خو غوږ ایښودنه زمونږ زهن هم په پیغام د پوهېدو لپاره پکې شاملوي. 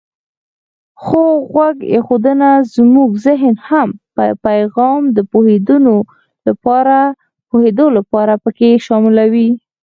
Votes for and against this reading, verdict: 2, 4, rejected